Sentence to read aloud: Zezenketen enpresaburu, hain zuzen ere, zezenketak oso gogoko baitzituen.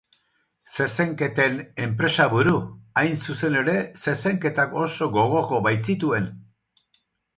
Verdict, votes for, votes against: accepted, 4, 0